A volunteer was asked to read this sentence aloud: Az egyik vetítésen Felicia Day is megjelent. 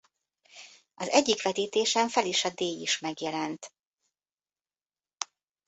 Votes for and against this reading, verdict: 2, 0, accepted